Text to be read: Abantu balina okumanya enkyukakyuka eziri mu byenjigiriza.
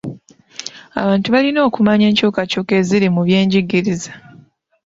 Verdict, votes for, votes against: rejected, 1, 2